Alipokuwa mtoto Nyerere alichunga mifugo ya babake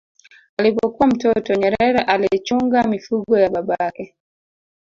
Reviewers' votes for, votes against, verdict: 1, 2, rejected